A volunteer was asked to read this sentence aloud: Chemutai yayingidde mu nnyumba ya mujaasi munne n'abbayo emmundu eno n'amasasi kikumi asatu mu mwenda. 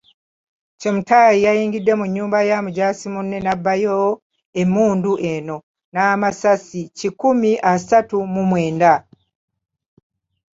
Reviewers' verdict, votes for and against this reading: accepted, 2, 0